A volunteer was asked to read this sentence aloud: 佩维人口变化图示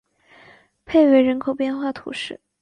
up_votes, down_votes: 2, 0